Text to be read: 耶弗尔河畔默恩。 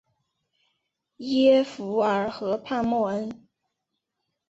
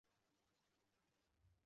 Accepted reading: first